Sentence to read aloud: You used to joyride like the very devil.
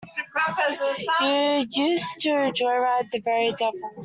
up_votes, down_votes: 0, 2